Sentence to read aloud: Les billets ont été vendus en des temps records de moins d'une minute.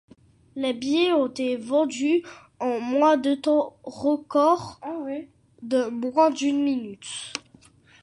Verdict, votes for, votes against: rejected, 0, 2